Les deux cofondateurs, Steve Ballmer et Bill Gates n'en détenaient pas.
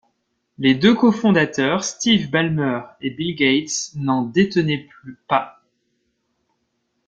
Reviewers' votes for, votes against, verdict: 0, 2, rejected